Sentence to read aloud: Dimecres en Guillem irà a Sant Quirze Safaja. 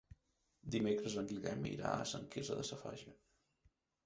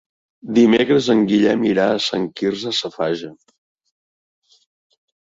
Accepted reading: second